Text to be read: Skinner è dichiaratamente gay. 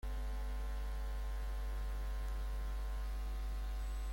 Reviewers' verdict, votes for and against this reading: rejected, 0, 2